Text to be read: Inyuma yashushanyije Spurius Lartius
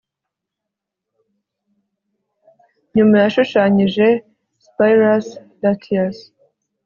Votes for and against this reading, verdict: 1, 2, rejected